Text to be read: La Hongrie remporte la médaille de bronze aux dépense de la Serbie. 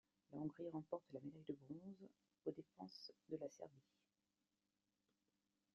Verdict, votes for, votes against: rejected, 1, 2